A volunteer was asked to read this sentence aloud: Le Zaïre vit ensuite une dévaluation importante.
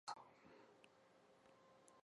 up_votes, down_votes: 0, 2